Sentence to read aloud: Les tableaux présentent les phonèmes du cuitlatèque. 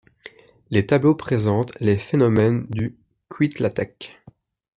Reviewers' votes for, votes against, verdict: 0, 2, rejected